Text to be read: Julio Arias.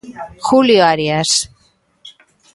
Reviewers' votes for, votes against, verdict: 1, 2, rejected